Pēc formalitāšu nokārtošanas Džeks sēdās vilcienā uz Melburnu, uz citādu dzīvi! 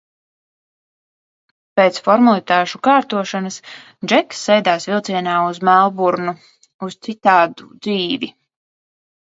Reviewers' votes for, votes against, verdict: 1, 2, rejected